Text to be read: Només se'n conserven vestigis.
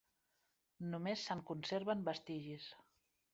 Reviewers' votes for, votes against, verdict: 4, 1, accepted